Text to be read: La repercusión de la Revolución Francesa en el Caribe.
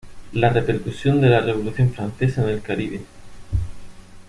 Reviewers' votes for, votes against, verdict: 0, 2, rejected